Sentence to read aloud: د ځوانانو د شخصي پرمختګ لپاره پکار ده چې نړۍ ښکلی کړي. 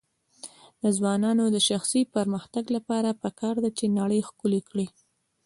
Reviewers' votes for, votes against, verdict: 1, 2, rejected